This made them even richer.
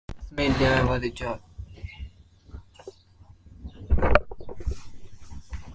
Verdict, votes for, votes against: rejected, 0, 2